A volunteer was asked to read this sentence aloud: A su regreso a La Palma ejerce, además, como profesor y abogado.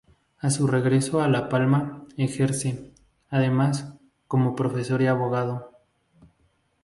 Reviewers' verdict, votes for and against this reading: rejected, 2, 2